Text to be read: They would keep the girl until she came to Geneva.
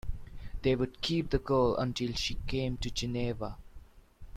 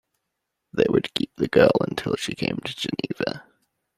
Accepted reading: first